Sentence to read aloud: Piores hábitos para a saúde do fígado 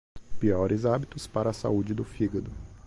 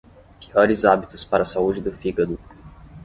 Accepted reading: first